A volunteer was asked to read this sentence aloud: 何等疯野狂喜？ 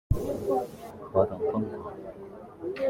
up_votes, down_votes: 0, 2